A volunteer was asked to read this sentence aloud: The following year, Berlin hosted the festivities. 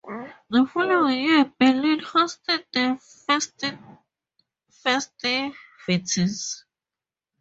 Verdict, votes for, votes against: accepted, 2, 0